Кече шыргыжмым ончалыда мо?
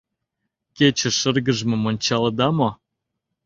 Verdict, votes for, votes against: accepted, 2, 0